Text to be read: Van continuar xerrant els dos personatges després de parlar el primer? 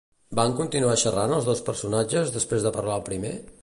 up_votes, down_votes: 2, 0